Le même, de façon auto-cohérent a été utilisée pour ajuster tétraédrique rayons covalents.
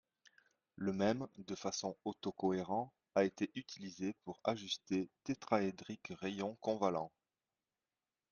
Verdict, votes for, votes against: rejected, 0, 2